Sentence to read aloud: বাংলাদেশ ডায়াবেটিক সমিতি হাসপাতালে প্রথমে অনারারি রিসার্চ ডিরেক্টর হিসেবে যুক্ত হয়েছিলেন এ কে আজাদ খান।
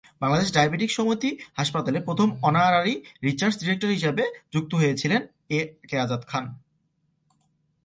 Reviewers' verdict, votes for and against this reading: rejected, 0, 2